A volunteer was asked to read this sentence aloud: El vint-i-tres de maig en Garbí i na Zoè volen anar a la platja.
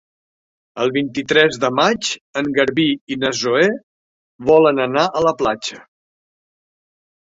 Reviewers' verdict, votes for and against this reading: accepted, 3, 0